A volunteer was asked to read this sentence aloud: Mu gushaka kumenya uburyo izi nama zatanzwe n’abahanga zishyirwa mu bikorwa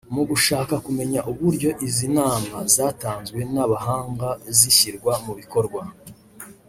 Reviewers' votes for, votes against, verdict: 1, 2, rejected